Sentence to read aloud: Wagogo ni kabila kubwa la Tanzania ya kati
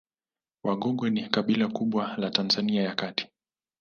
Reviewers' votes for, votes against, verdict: 2, 0, accepted